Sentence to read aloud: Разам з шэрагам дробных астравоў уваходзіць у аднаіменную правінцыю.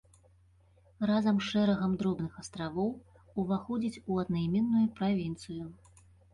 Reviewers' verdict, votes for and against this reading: accepted, 2, 0